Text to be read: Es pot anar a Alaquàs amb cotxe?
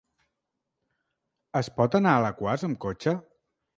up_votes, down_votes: 4, 0